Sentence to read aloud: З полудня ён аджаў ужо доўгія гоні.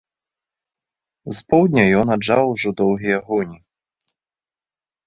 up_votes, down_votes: 0, 2